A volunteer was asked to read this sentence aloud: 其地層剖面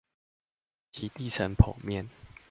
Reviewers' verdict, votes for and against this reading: accepted, 2, 0